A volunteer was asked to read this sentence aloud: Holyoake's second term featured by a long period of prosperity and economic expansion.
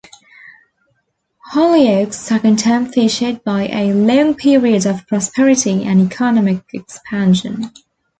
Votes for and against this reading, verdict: 0, 2, rejected